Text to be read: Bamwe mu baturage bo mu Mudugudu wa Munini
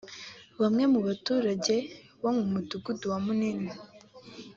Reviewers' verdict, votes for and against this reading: accepted, 3, 0